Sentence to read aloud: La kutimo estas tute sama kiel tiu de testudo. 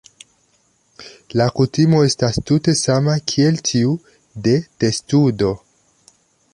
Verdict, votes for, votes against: accepted, 2, 1